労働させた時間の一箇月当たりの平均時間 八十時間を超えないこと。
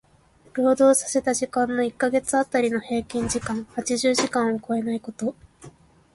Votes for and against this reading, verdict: 2, 0, accepted